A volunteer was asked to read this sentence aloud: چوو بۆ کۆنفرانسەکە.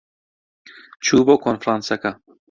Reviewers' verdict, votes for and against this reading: accepted, 2, 0